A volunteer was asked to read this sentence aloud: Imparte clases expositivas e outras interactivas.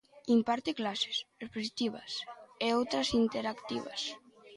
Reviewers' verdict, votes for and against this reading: rejected, 1, 2